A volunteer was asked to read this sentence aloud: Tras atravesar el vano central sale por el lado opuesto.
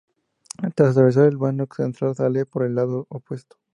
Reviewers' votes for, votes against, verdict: 0, 2, rejected